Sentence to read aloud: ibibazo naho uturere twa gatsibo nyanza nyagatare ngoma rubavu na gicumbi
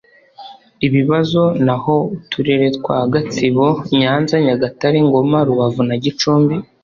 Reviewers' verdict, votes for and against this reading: accepted, 2, 0